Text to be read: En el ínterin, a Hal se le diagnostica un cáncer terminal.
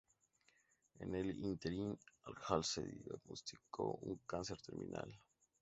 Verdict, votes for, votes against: rejected, 0, 2